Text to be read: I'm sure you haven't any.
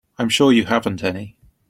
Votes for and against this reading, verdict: 2, 0, accepted